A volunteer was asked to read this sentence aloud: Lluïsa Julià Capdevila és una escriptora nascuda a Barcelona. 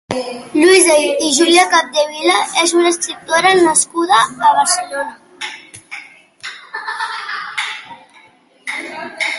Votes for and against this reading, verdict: 1, 2, rejected